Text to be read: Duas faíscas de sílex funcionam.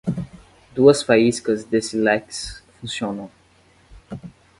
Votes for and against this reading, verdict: 0, 10, rejected